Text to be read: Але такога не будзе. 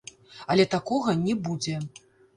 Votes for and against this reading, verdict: 1, 2, rejected